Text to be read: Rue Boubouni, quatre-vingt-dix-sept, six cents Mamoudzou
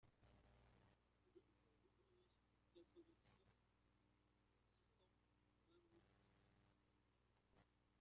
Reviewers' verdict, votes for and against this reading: rejected, 0, 2